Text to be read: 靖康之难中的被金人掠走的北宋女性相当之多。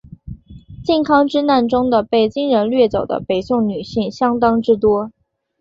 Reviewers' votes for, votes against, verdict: 3, 1, accepted